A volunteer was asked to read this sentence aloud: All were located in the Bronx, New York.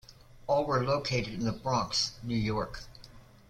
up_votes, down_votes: 3, 0